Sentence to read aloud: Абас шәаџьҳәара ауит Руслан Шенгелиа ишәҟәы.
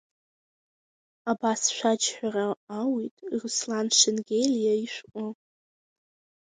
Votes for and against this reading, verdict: 2, 0, accepted